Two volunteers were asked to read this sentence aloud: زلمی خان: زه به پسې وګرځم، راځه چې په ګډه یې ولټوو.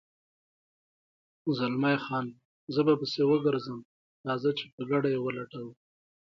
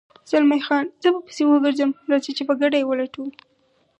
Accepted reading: first